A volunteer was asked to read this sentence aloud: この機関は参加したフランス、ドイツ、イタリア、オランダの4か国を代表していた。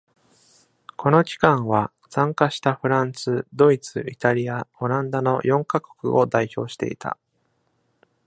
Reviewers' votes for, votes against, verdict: 0, 2, rejected